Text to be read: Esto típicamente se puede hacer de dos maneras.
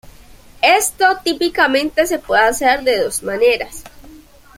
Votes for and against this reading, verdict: 2, 1, accepted